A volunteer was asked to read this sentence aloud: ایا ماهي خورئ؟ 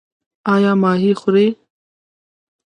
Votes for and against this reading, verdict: 2, 0, accepted